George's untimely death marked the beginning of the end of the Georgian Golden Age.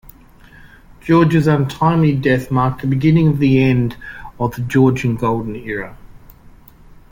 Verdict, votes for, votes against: rejected, 0, 2